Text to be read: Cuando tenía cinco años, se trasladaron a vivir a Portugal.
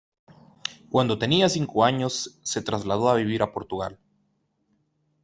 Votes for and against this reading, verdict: 0, 2, rejected